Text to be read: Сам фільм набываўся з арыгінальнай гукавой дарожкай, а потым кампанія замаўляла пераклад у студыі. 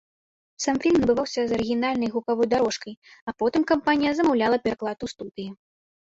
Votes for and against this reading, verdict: 1, 2, rejected